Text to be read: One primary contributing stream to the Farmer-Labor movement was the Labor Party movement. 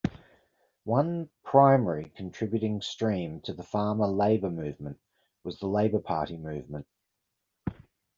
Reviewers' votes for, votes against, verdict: 2, 0, accepted